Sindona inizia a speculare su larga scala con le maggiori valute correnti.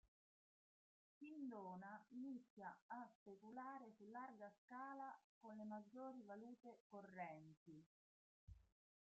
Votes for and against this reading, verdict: 0, 2, rejected